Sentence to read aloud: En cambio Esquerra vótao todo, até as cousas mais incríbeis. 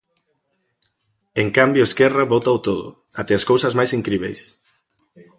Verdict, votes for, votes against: accepted, 2, 0